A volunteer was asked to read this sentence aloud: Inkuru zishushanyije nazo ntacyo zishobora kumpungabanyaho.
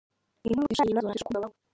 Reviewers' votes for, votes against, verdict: 0, 2, rejected